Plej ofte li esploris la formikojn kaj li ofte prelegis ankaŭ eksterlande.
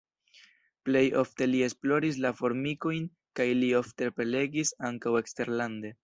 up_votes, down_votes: 2, 0